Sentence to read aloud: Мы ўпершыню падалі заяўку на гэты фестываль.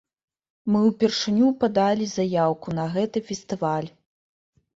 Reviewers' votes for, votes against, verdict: 0, 2, rejected